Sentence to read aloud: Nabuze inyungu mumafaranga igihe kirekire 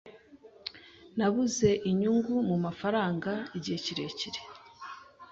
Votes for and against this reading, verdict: 2, 0, accepted